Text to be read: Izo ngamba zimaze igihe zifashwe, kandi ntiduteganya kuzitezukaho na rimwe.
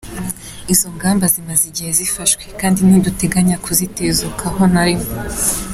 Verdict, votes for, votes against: accepted, 2, 0